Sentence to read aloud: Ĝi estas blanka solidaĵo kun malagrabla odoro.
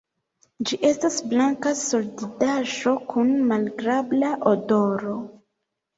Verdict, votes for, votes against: rejected, 1, 3